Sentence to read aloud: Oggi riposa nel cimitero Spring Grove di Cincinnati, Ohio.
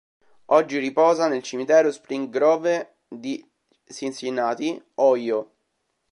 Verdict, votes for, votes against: rejected, 1, 2